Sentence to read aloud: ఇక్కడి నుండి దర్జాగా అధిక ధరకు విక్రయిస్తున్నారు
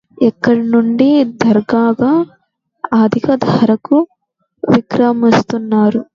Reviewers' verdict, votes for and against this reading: rejected, 0, 2